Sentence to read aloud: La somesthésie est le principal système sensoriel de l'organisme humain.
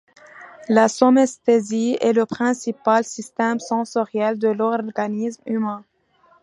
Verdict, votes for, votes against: accepted, 2, 0